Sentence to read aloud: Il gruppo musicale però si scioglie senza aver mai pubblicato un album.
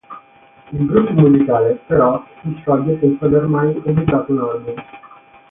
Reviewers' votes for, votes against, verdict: 3, 6, rejected